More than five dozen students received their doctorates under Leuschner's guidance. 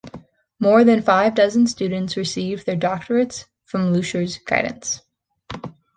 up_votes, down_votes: 1, 2